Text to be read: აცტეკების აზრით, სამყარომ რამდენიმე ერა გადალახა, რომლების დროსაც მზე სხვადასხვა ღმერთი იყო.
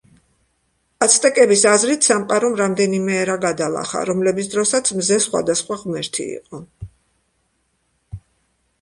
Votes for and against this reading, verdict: 2, 1, accepted